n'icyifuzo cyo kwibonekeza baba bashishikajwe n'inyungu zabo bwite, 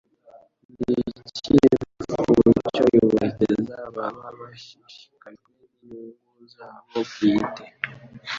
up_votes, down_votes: 1, 2